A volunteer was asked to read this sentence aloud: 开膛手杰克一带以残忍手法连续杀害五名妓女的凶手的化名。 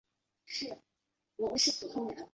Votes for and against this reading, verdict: 1, 2, rejected